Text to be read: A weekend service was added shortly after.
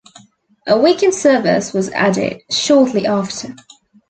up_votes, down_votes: 2, 0